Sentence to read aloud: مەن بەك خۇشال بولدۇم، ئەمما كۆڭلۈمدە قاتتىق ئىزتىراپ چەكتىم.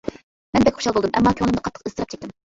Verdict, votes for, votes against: rejected, 1, 2